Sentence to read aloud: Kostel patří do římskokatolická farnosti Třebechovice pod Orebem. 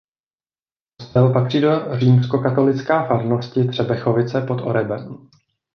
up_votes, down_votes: 0, 2